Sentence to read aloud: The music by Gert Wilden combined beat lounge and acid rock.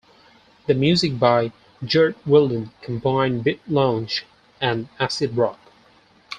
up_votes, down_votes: 2, 4